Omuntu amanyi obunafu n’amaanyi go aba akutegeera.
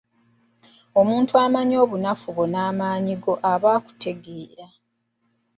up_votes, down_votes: 0, 2